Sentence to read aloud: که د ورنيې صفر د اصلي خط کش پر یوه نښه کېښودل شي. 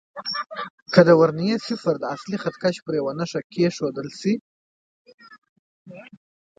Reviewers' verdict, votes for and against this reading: rejected, 1, 2